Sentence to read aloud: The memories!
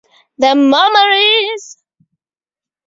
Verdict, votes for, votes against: accepted, 4, 0